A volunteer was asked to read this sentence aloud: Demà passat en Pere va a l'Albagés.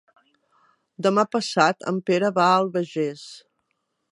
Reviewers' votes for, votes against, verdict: 0, 2, rejected